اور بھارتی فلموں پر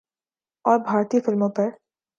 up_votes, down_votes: 3, 0